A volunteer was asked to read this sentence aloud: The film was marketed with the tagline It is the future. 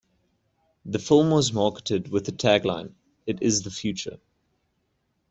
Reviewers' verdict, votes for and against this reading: accepted, 2, 0